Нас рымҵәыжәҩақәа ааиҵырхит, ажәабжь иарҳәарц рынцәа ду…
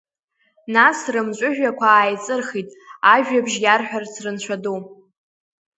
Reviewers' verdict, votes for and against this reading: accepted, 2, 0